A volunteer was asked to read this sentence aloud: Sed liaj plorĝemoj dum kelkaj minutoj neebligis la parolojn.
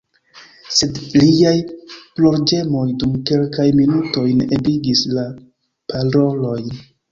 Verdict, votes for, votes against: rejected, 1, 2